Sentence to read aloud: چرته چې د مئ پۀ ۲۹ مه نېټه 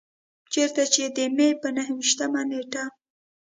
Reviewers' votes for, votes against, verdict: 0, 2, rejected